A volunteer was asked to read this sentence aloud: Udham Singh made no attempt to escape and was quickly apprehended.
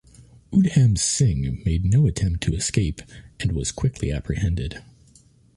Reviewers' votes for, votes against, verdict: 2, 0, accepted